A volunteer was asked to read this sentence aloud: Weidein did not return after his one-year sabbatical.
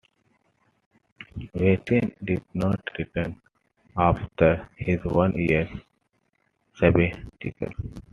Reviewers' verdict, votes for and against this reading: rejected, 1, 2